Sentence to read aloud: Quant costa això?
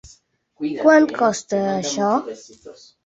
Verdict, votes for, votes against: accepted, 3, 2